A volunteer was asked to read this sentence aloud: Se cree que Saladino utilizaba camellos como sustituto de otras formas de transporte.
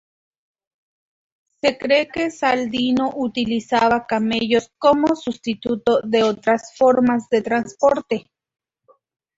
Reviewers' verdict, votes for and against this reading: rejected, 0, 2